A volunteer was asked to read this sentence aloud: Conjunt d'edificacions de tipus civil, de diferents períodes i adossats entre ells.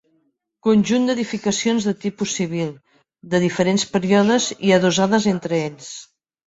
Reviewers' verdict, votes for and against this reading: rejected, 0, 2